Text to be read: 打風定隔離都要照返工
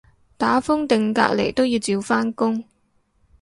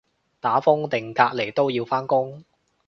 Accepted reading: first